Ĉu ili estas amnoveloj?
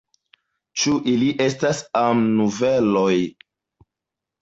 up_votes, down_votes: 2, 0